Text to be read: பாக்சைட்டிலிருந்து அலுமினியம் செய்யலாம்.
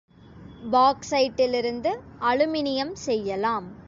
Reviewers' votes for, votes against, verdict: 2, 0, accepted